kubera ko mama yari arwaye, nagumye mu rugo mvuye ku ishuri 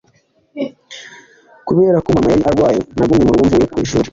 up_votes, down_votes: 2, 1